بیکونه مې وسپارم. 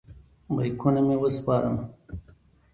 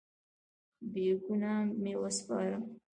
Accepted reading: first